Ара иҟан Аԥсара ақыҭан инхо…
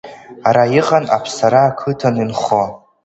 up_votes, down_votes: 2, 1